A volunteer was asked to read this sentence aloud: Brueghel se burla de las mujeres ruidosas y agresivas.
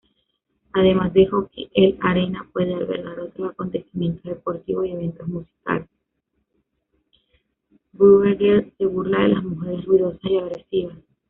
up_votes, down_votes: 0, 2